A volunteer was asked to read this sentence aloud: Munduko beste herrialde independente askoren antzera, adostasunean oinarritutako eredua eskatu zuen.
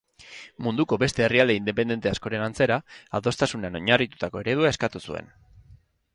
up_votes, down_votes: 6, 0